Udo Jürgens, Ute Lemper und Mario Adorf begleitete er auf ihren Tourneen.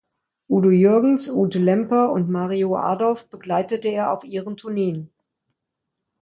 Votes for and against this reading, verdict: 2, 0, accepted